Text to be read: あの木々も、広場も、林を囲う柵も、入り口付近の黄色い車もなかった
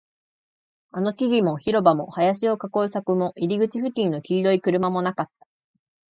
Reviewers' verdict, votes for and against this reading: accepted, 3, 0